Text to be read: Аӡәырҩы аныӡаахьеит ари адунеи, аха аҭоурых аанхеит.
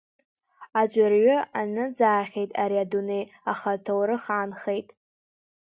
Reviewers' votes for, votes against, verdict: 2, 0, accepted